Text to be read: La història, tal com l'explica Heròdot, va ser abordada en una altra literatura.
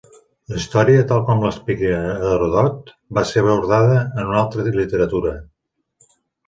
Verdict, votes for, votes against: rejected, 1, 2